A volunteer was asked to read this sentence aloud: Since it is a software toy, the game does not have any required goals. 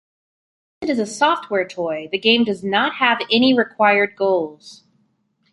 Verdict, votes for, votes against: rejected, 1, 3